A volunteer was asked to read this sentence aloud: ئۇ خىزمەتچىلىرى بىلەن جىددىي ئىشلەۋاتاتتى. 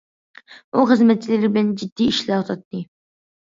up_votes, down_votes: 2, 0